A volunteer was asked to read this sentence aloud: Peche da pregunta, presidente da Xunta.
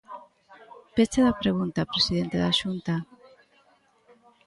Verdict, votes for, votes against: rejected, 1, 2